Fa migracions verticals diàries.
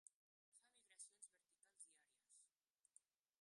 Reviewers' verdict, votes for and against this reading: rejected, 0, 2